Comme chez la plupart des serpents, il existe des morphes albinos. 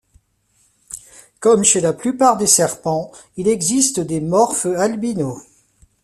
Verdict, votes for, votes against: rejected, 0, 2